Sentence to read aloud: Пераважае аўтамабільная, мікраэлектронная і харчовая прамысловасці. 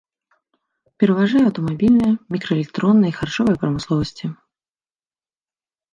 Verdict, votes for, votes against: accepted, 2, 0